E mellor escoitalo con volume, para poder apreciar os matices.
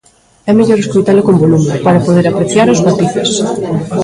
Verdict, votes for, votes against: rejected, 0, 2